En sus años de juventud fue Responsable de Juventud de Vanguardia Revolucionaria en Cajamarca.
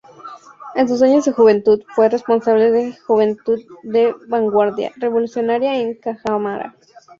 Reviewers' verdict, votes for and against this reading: rejected, 0, 2